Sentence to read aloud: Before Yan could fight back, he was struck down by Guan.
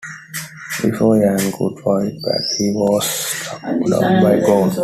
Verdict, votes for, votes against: rejected, 1, 2